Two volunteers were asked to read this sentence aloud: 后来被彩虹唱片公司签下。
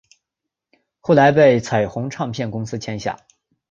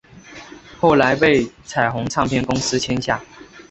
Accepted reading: second